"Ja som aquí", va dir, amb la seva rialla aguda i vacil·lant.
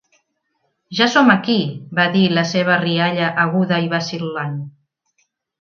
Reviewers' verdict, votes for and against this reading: rejected, 0, 3